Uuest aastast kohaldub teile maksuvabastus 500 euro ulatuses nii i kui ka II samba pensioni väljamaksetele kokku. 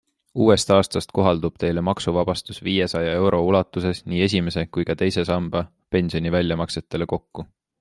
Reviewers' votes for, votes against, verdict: 0, 2, rejected